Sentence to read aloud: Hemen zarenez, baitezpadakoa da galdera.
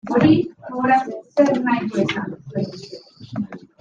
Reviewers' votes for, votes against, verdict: 0, 2, rejected